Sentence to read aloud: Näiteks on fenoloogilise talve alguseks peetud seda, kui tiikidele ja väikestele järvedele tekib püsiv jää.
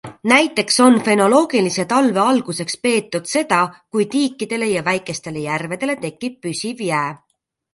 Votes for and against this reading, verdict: 2, 0, accepted